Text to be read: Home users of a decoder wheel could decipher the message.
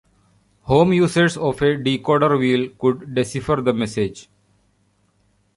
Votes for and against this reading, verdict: 1, 2, rejected